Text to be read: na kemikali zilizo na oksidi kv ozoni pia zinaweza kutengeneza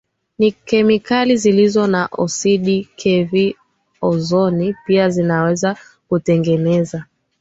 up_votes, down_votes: 3, 0